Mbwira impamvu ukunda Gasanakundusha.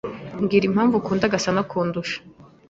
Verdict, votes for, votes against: accepted, 2, 0